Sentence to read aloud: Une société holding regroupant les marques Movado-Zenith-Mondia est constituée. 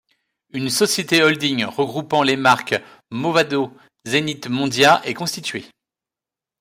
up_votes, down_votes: 2, 0